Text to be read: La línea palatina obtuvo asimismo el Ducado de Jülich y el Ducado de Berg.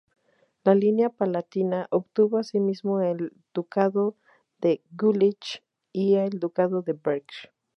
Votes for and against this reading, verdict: 4, 0, accepted